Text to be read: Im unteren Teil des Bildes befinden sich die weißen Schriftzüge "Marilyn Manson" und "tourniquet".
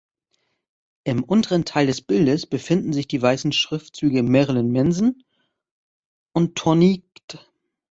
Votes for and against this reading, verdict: 0, 2, rejected